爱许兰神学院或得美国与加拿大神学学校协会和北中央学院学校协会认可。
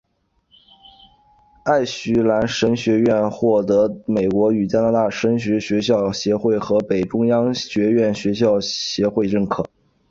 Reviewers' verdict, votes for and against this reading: accepted, 7, 0